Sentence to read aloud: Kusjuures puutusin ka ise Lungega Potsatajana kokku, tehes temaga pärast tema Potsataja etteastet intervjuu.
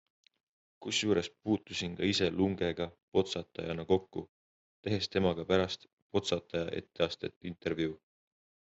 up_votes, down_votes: 2, 1